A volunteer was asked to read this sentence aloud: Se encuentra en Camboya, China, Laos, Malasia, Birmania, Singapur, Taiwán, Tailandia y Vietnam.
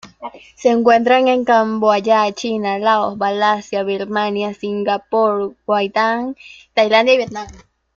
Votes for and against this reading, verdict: 0, 2, rejected